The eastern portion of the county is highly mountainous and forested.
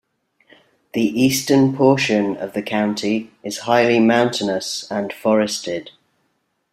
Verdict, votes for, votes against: rejected, 1, 2